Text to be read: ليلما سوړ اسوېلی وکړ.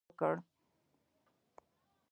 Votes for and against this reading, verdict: 0, 2, rejected